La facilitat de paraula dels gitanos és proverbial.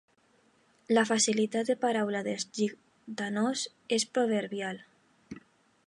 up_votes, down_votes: 0, 2